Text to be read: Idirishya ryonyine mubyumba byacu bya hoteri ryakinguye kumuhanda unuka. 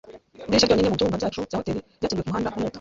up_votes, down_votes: 0, 2